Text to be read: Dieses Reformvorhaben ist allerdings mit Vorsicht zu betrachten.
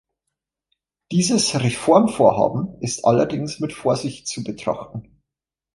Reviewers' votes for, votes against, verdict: 2, 0, accepted